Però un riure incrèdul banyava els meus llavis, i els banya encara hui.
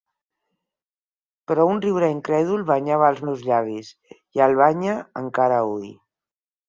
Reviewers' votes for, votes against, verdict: 0, 4, rejected